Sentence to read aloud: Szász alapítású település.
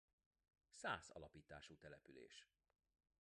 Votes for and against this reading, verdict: 2, 1, accepted